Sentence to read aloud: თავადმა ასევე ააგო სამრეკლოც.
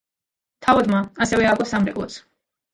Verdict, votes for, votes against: rejected, 1, 2